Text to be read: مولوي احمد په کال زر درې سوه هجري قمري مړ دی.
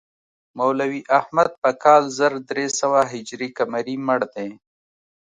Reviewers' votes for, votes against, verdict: 2, 0, accepted